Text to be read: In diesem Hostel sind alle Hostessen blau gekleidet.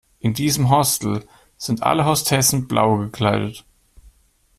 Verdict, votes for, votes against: accepted, 2, 0